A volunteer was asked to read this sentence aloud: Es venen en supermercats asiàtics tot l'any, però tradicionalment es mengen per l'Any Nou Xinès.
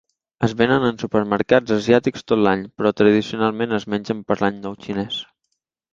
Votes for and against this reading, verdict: 2, 0, accepted